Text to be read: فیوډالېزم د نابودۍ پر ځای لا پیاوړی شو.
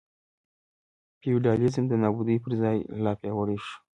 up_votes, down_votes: 2, 0